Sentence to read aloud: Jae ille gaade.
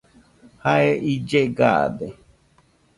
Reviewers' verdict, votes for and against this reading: accepted, 2, 0